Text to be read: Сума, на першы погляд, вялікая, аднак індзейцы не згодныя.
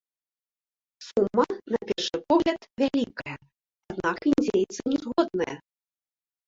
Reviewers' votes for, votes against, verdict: 2, 0, accepted